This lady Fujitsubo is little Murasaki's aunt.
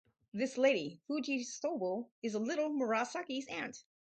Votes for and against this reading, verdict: 2, 2, rejected